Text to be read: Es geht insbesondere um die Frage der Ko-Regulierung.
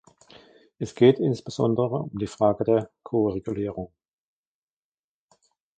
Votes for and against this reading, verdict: 1, 2, rejected